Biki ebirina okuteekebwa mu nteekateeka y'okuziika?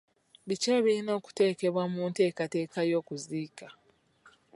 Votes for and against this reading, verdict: 2, 0, accepted